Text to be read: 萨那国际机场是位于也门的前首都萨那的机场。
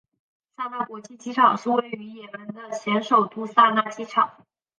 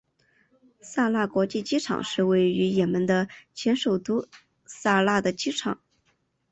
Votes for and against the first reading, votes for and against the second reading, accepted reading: 1, 3, 3, 0, second